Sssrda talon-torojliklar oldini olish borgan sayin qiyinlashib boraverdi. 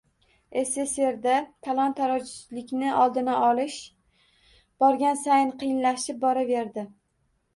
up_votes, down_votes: 1, 2